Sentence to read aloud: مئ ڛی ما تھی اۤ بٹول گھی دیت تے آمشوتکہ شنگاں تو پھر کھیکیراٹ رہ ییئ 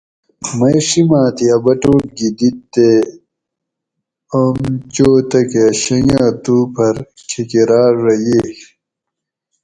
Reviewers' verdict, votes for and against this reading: rejected, 2, 2